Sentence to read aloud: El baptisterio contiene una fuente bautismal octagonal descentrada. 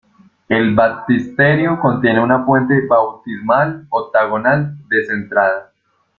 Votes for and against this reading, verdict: 2, 0, accepted